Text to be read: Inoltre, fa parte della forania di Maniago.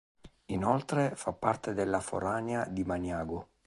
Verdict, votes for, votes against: accepted, 2, 0